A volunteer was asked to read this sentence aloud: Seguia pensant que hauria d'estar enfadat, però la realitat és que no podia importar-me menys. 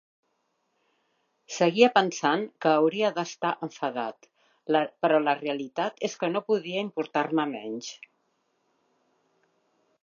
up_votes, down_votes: 1, 2